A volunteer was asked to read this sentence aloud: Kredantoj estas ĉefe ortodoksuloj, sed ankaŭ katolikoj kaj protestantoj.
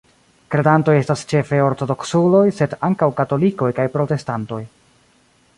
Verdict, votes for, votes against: accepted, 2, 1